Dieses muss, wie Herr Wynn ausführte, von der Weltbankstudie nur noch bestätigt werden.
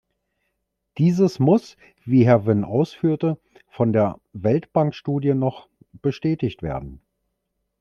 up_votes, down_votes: 0, 2